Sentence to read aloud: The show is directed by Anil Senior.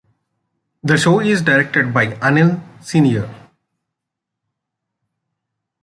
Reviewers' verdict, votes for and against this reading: accepted, 2, 1